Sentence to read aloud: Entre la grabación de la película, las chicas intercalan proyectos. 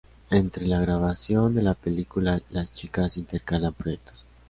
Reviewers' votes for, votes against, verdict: 2, 1, accepted